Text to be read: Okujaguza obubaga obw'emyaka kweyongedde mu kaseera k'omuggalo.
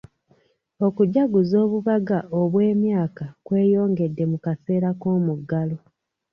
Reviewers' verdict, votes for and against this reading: accepted, 2, 1